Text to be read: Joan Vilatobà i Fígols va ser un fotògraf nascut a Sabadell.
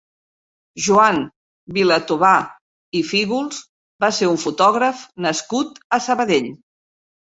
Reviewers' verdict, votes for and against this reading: accepted, 3, 0